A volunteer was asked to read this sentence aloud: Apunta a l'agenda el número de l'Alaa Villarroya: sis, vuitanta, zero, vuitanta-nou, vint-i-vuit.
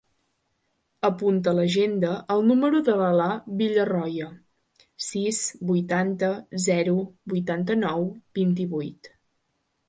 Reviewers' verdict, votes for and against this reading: accepted, 3, 0